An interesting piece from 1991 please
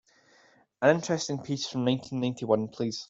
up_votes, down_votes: 0, 2